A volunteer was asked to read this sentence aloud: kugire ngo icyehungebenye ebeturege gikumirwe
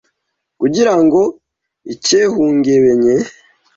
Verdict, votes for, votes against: rejected, 0, 2